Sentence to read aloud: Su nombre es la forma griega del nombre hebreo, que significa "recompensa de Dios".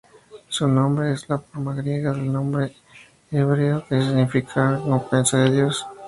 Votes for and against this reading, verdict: 2, 0, accepted